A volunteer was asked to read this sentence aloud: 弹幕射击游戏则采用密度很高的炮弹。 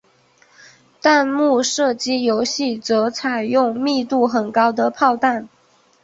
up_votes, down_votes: 4, 1